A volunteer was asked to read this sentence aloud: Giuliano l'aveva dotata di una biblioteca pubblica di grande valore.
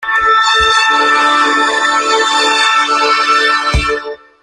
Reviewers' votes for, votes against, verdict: 0, 3, rejected